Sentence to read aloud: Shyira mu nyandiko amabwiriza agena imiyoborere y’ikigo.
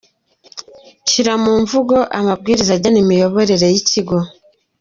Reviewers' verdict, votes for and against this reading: rejected, 0, 2